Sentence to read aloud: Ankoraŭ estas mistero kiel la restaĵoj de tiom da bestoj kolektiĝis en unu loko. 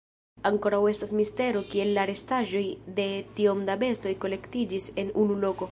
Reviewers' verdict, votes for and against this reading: rejected, 1, 2